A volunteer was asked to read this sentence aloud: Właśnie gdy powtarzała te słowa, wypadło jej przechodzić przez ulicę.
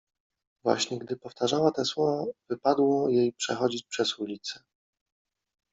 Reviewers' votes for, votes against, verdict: 1, 2, rejected